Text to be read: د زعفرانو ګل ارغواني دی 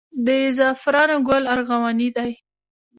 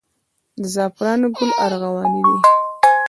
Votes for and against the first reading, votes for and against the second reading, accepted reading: 2, 0, 0, 2, first